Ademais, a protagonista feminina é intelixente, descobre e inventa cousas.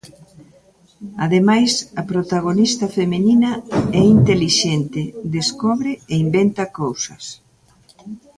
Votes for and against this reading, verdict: 1, 2, rejected